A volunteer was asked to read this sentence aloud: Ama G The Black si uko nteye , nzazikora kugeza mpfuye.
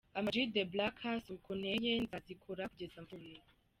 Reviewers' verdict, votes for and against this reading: rejected, 0, 2